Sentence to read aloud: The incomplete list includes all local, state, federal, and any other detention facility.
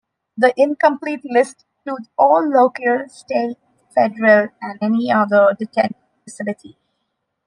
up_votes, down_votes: 0, 2